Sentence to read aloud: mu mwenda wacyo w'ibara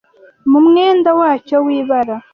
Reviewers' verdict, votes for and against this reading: accepted, 2, 0